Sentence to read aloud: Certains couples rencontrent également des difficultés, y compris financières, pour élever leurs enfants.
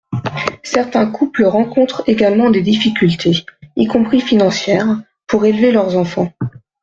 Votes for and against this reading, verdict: 1, 2, rejected